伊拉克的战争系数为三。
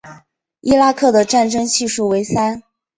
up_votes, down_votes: 2, 1